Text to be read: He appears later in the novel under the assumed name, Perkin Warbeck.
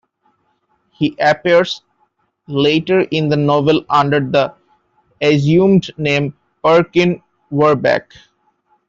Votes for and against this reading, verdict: 1, 2, rejected